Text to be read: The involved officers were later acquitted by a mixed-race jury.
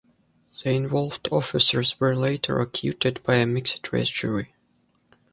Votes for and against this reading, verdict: 0, 2, rejected